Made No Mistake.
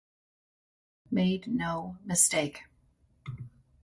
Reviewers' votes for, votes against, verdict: 2, 0, accepted